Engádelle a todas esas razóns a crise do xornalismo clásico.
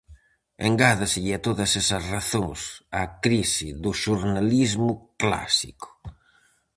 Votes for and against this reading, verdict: 0, 4, rejected